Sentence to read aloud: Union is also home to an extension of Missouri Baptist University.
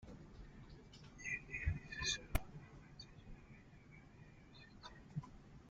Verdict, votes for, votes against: rejected, 0, 2